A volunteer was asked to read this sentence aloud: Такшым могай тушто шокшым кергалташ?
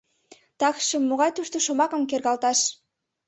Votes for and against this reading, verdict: 1, 2, rejected